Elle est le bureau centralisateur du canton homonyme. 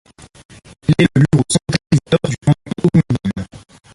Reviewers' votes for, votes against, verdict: 0, 2, rejected